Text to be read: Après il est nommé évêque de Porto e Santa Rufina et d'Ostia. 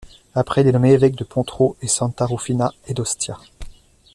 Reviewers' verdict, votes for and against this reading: accepted, 2, 1